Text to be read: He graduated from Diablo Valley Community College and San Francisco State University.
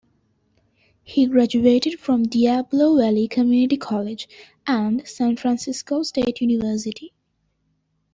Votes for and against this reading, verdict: 1, 2, rejected